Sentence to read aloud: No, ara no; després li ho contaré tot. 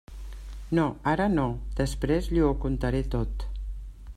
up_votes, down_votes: 1, 2